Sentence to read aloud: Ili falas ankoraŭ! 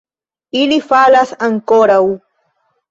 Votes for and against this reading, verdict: 2, 1, accepted